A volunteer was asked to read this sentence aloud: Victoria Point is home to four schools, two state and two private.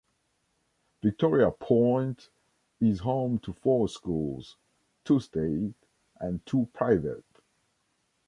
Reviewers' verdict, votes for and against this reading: rejected, 0, 2